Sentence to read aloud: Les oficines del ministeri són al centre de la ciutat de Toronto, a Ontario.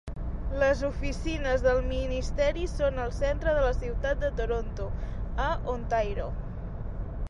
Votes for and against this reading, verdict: 1, 2, rejected